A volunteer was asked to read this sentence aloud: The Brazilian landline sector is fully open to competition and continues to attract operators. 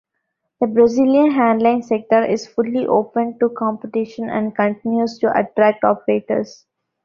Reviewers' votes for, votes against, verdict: 0, 2, rejected